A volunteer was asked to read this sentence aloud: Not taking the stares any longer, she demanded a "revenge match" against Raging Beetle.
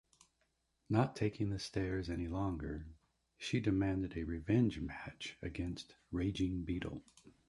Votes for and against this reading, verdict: 2, 0, accepted